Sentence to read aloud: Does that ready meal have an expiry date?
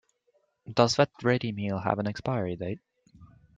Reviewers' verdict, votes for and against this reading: accepted, 2, 0